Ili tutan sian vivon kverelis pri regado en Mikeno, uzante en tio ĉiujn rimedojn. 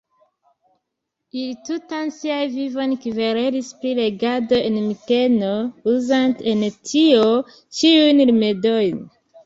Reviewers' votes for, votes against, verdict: 1, 2, rejected